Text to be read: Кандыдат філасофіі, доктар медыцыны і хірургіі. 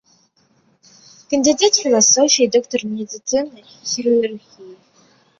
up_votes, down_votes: 0, 2